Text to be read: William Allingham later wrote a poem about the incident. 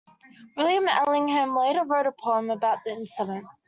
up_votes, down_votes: 2, 0